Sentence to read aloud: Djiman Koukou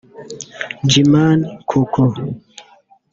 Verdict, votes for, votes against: rejected, 0, 2